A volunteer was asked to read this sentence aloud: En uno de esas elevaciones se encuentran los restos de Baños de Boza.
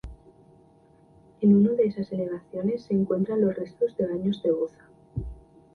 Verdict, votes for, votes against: rejected, 0, 2